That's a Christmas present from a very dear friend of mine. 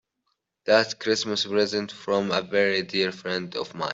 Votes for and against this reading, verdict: 0, 2, rejected